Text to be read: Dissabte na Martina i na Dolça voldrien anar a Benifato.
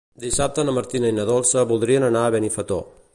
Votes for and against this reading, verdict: 0, 2, rejected